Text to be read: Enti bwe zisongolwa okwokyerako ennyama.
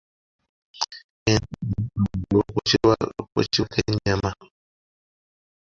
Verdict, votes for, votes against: rejected, 0, 2